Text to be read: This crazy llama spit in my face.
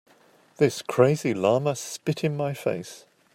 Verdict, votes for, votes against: accepted, 2, 0